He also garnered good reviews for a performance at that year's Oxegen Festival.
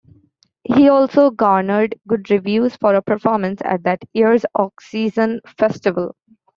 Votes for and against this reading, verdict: 0, 2, rejected